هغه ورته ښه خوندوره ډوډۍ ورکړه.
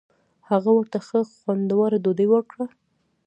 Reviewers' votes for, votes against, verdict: 0, 2, rejected